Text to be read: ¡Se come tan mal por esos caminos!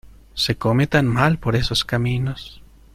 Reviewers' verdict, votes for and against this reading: accepted, 2, 0